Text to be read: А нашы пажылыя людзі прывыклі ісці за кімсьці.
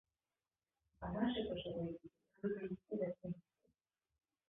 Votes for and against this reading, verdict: 0, 2, rejected